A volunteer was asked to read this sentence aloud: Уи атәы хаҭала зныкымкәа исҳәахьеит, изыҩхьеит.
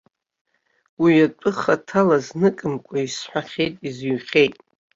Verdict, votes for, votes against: accepted, 2, 1